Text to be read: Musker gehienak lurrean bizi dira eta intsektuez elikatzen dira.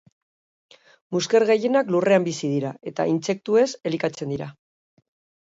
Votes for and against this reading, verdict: 2, 0, accepted